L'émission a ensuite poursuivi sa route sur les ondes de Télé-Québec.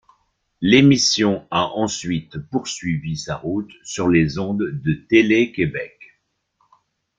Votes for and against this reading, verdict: 2, 0, accepted